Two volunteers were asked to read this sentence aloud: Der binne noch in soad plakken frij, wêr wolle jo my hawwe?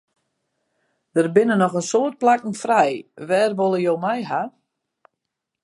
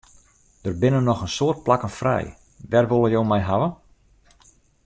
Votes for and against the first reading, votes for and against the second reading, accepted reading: 2, 2, 2, 0, second